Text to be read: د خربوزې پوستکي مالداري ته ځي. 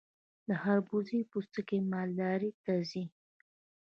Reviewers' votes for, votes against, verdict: 0, 2, rejected